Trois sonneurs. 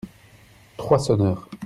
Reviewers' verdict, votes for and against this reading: accepted, 2, 0